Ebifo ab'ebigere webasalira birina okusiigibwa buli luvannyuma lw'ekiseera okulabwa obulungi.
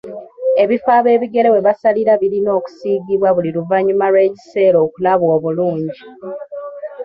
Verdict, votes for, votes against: accepted, 2, 1